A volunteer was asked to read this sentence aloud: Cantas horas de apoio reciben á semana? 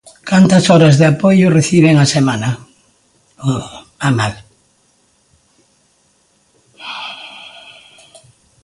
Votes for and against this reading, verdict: 0, 2, rejected